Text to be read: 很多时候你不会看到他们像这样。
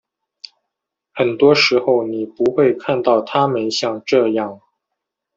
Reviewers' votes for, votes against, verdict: 2, 0, accepted